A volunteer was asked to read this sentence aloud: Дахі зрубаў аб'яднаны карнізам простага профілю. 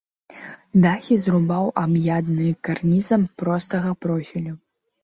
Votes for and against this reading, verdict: 0, 2, rejected